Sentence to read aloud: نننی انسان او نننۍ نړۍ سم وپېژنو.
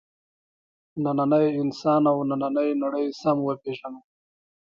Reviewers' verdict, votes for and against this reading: rejected, 0, 2